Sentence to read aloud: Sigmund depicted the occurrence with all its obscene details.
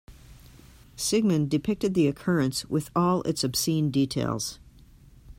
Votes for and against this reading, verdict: 2, 0, accepted